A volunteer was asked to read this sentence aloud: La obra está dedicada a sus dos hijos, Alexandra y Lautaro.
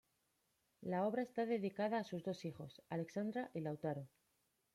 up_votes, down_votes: 2, 0